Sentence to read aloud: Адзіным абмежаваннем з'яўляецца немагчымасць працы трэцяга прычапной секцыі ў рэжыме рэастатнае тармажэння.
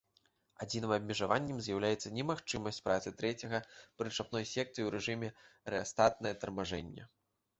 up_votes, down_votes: 2, 0